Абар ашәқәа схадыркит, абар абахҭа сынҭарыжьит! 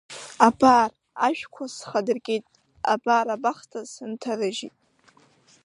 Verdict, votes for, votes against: accepted, 3, 0